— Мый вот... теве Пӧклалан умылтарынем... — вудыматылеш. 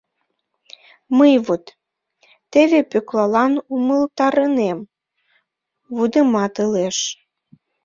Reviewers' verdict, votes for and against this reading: accepted, 2, 0